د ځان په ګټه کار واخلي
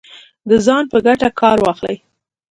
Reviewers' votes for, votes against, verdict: 2, 0, accepted